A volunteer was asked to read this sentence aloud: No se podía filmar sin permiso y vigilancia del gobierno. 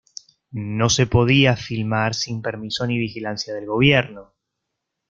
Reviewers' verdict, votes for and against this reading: rejected, 0, 2